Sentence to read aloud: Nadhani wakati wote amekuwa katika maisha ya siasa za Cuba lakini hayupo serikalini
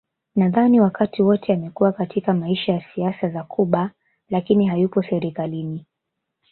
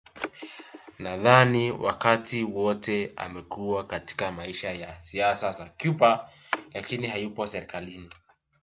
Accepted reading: second